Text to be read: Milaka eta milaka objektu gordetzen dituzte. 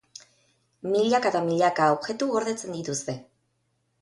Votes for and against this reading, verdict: 6, 0, accepted